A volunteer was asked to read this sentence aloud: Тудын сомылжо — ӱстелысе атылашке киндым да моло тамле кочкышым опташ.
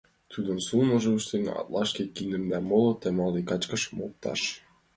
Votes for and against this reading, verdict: 0, 3, rejected